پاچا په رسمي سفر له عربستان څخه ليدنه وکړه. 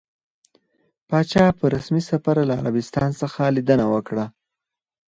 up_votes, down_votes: 2, 2